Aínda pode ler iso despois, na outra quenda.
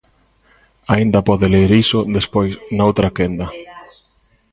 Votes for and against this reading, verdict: 2, 0, accepted